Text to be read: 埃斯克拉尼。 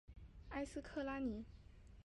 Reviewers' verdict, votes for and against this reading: accepted, 2, 1